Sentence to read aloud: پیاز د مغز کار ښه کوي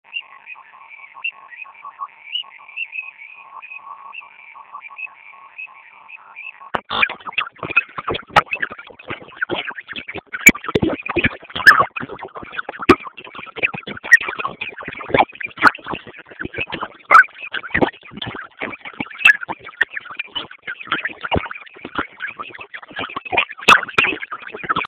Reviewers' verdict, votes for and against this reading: rejected, 0, 2